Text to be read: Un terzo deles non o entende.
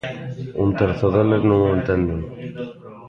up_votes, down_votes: 1, 2